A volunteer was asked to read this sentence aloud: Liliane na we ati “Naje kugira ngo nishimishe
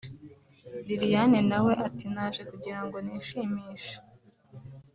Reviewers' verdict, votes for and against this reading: accepted, 2, 1